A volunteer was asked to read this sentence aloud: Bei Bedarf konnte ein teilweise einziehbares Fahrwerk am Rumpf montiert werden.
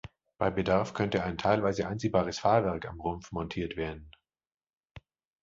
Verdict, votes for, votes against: rejected, 1, 2